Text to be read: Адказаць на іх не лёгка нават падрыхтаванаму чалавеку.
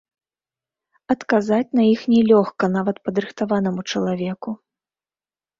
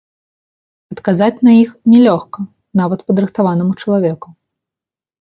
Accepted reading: second